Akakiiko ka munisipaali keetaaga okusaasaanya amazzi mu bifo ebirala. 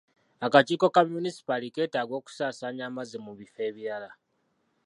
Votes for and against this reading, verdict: 2, 0, accepted